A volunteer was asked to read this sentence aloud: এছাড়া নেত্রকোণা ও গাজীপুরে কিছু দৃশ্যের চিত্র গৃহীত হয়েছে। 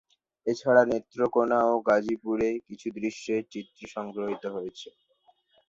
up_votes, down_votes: 0, 2